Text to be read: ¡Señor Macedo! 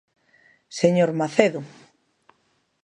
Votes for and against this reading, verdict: 2, 0, accepted